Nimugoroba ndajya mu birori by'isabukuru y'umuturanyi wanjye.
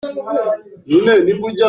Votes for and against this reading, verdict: 0, 2, rejected